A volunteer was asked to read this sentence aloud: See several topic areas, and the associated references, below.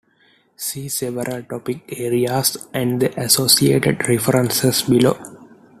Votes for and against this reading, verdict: 2, 0, accepted